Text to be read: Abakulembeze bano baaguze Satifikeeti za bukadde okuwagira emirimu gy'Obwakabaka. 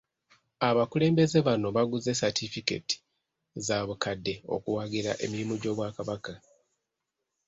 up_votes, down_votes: 1, 2